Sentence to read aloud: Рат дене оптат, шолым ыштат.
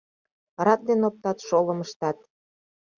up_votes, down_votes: 2, 0